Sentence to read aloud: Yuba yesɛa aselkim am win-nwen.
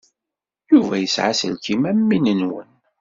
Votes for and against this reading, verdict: 2, 0, accepted